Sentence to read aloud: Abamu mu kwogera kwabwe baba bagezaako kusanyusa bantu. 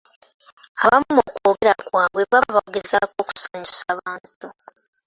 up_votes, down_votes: 0, 3